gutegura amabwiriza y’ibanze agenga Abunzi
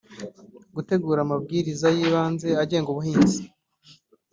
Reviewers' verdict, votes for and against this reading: rejected, 0, 2